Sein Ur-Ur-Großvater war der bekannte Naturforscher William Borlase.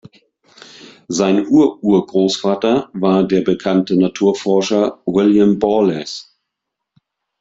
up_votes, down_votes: 2, 0